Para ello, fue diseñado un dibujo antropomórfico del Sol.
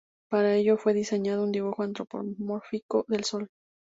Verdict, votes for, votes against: accepted, 2, 0